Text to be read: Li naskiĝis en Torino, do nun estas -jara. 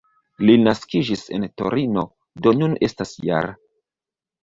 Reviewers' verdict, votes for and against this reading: rejected, 1, 2